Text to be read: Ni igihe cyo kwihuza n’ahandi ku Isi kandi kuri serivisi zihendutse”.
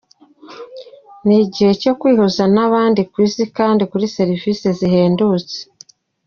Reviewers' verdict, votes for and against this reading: accepted, 2, 0